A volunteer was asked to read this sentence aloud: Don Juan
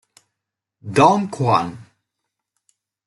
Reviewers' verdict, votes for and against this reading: rejected, 1, 2